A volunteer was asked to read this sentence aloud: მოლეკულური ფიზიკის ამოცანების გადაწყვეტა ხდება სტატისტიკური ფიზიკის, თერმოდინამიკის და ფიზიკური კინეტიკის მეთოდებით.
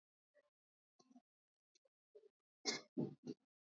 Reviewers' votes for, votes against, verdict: 1, 2, rejected